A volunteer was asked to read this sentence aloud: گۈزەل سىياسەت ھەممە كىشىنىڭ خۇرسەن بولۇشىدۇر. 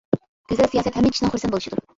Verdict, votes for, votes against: rejected, 1, 2